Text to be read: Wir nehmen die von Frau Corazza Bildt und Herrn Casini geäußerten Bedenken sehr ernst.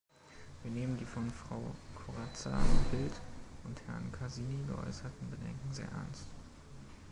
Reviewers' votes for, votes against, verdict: 0, 2, rejected